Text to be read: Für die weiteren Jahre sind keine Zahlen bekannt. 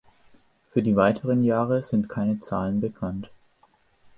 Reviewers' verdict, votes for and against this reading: accepted, 2, 0